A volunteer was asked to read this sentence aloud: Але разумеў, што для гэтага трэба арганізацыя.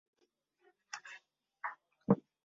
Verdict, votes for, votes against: rejected, 0, 2